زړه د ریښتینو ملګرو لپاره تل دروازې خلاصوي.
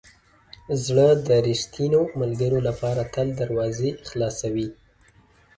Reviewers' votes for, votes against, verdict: 2, 0, accepted